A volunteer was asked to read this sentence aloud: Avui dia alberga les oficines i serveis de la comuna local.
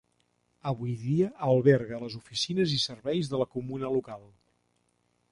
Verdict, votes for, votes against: accepted, 2, 0